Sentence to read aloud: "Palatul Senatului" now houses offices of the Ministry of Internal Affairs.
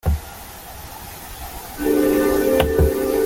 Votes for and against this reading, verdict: 0, 2, rejected